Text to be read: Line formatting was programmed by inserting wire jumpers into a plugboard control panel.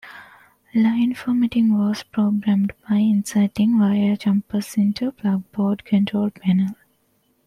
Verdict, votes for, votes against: accepted, 2, 1